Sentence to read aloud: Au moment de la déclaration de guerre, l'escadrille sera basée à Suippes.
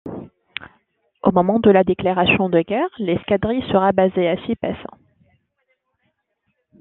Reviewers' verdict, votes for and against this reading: accepted, 2, 0